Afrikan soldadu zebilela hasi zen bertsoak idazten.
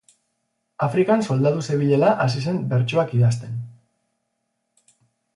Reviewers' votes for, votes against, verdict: 4, 0, accepted